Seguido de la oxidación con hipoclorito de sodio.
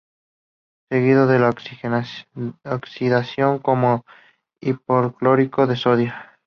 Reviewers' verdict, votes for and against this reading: rejected, 0, 2